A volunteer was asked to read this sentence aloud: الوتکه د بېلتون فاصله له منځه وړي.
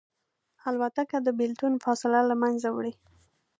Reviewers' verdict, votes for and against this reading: accepted, 2, 0